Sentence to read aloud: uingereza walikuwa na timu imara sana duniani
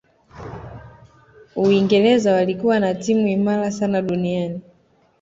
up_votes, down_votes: 2, 0